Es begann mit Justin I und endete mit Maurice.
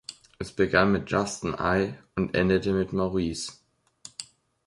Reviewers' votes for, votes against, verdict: 2, 0, accepted